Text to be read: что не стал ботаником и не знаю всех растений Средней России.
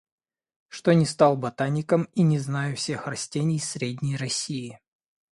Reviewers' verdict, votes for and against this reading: accepted, 2, 0